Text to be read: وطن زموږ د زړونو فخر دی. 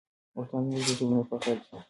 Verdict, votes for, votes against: accepted, 2, 1